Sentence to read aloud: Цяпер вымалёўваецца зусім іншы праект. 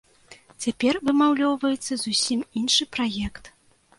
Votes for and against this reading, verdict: 1, 2, rejected